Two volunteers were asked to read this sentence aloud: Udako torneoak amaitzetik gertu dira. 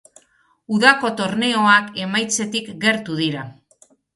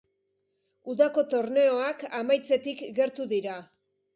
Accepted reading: second